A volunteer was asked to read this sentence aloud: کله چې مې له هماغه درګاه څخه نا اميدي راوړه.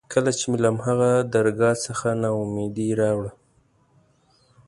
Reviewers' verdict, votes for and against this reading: accepted, 2, 0